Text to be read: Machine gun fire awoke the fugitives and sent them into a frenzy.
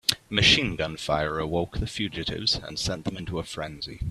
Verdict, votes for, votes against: accepted, 3, 0